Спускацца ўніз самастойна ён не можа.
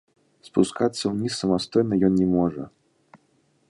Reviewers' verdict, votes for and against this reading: rejected, 1, 2